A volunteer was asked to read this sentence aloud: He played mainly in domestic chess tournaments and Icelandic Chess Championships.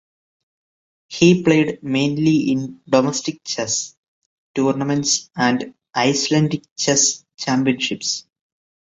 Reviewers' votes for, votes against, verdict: 2, 0, accepted